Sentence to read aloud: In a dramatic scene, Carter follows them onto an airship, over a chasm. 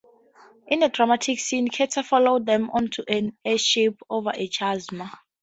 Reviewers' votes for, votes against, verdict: 2, 0, accepted